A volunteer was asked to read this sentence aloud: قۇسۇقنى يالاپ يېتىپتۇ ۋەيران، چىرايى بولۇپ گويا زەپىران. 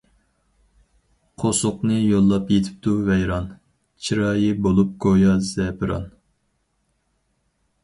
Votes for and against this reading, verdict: 0, 4, rejected